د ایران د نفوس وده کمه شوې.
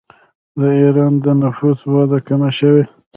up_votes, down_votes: 1, 2